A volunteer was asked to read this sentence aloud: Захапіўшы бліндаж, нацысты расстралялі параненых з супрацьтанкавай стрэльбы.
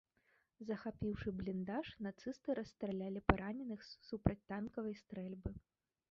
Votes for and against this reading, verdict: 1, 2, rejected